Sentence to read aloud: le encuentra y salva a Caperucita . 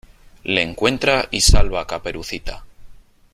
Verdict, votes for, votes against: accepted, 3, 0